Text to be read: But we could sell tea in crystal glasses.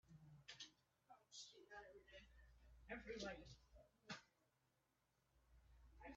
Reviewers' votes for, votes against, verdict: 0, 4, rejected